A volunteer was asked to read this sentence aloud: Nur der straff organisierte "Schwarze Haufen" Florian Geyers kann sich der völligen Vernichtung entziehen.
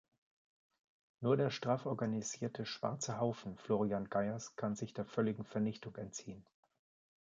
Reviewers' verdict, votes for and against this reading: accepted, 2, 0